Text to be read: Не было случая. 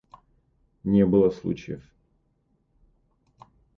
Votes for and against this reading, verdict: 0, 2, rejected